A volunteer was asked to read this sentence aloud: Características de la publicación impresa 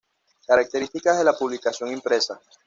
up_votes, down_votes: 2, 0